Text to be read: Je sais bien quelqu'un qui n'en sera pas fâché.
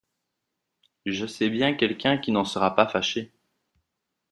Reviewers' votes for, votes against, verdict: 2, 0, accepted